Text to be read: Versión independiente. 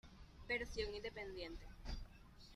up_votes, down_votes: 2, 1